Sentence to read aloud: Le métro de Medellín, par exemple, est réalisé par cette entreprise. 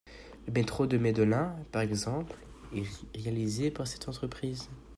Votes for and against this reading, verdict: 0, 2, rejected